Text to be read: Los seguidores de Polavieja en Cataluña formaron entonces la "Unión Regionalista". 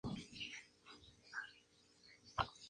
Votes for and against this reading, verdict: 0, 2, rejected